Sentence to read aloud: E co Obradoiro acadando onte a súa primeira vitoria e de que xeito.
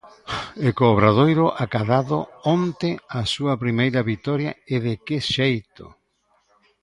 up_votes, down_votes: 0, 3